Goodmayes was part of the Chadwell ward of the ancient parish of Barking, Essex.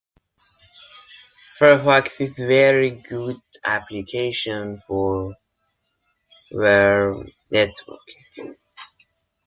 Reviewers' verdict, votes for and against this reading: rejected, 0, 2